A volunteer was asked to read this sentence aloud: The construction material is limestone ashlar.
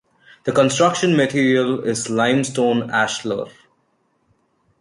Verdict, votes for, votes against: accepted, 2, 0